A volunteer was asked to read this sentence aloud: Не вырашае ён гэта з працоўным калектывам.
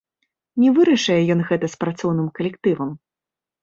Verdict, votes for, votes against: rejected, 1, 2